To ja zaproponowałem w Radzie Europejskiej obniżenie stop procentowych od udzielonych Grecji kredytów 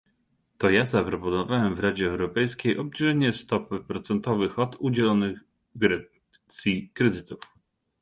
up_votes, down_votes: 1, 2